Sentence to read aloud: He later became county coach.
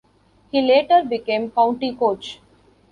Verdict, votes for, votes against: accepted, 3, 1